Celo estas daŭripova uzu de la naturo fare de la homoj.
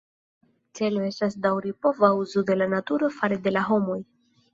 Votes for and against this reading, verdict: 2, 0, accepted